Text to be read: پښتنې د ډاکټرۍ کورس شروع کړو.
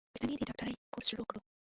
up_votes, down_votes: 1, 2